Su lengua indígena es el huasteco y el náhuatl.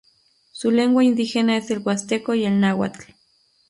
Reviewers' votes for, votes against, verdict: 2, 0, accepted